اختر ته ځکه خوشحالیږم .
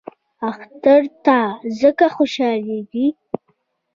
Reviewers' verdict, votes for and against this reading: rejected, 1, 2